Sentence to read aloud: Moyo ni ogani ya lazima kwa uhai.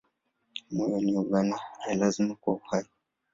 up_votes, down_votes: 1, 2